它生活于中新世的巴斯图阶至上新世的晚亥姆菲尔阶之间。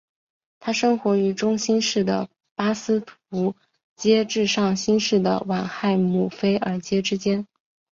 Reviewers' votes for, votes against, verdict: 2, 0, accepted